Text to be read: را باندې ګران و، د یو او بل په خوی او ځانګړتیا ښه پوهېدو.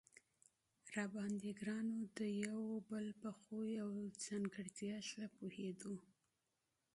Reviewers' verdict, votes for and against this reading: accepted, 2, 0